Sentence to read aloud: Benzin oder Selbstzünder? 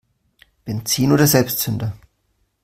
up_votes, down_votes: 2, 0